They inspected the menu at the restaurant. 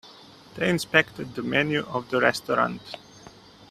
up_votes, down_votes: 1, 2